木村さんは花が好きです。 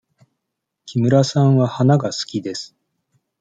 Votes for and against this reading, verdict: 2, 0, accepted